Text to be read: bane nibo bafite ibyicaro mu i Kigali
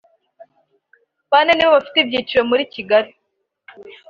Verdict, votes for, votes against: accepted, 3, 0